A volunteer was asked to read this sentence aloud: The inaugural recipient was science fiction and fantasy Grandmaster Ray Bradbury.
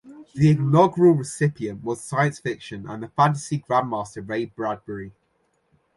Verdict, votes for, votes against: accepted, 2, 0